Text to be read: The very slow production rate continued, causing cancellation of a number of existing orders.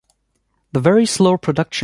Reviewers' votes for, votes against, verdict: 1, 2, rejected